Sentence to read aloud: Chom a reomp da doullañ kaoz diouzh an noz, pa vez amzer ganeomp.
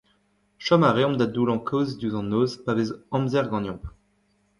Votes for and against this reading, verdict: 1, 2, rejected